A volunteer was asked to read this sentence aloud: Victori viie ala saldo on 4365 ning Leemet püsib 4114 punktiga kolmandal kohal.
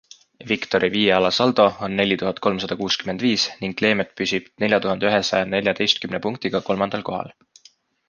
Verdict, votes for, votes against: rejected, 0, 2